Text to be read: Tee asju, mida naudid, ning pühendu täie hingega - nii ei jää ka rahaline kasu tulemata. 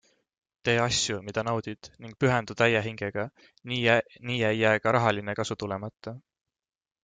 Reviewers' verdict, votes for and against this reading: accepted, 2, 0